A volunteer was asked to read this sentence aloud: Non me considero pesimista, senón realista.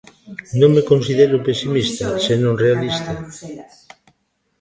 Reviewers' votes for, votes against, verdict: 1, 2, rejected